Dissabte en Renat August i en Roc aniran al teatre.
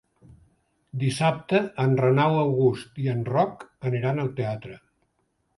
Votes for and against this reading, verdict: 0, 2, rejected